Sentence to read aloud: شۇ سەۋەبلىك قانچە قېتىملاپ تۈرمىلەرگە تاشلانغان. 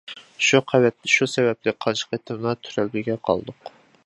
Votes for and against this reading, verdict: 0, 2, rejected